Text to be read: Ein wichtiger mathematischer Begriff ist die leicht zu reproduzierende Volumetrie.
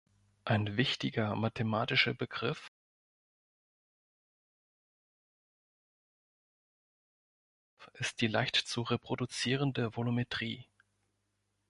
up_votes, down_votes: 1, 4